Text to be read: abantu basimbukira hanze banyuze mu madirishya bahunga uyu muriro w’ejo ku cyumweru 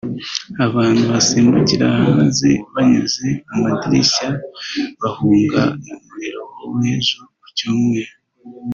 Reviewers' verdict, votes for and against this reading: rejected, 0, 2